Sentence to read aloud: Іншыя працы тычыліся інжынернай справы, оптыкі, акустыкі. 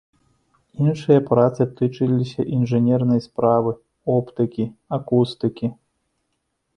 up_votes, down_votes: 2, 0